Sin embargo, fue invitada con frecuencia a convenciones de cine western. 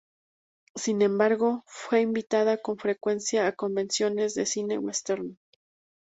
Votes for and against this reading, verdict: 2, 2, rejected